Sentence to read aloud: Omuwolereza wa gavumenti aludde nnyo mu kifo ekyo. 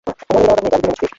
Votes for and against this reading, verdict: 0, 2, rejected